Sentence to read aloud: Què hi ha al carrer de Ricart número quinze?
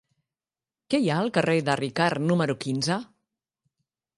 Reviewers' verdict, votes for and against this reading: accepted, 3, 1